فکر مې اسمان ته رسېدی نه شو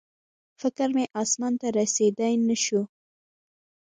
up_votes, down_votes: 2, 0